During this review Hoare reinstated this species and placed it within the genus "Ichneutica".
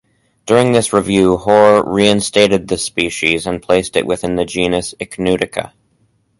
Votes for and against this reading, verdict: 4, 0, accepted